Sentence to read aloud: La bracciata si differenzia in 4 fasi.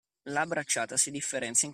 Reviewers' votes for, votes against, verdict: 0, 2, rejected